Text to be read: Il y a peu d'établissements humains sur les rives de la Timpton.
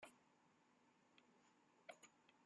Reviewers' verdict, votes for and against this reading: rejected, 0, 2